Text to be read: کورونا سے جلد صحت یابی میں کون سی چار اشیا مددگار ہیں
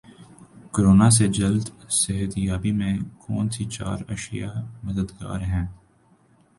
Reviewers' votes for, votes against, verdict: 2, 0, accepted